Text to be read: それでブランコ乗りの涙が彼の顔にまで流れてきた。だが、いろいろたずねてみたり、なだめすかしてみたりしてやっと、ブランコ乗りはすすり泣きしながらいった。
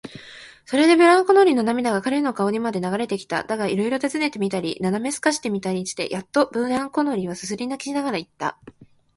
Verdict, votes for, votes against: accepted, 2, 0